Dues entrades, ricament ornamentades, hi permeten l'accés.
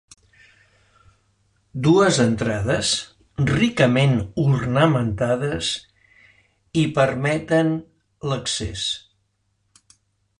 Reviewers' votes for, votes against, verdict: 3, 0, accepted